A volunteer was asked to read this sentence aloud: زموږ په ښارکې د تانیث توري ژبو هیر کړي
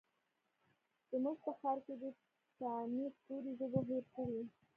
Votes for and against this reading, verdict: 0, 2, rejected